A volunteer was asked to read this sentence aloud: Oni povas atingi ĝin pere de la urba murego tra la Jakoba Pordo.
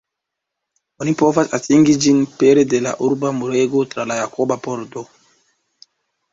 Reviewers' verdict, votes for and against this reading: rejected, 2, 3